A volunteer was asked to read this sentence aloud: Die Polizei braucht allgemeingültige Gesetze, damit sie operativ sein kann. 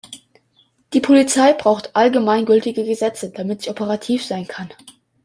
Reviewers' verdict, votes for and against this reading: accepted, 2, 0